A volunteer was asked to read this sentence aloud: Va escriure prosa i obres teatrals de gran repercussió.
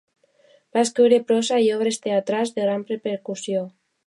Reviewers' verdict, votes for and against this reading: rejected, 0, 2